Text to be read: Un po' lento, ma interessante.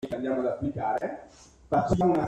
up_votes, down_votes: 0, 2